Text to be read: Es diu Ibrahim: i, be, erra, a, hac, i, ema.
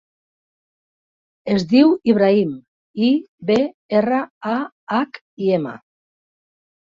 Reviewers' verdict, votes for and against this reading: rejected, 1, 2